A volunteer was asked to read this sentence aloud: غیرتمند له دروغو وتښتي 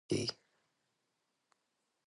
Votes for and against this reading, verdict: 1, 2, rejected